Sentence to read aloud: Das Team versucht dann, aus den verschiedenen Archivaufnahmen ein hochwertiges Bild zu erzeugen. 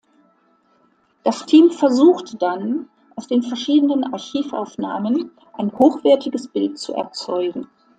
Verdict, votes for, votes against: accepted, 2, 0